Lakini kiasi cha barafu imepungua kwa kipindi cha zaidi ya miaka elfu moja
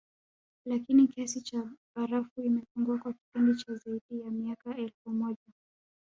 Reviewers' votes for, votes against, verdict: 1, 2, rejected